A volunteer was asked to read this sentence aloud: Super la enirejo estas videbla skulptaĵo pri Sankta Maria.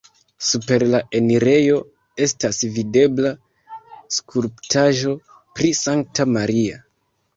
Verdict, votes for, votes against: accepted, 2, 0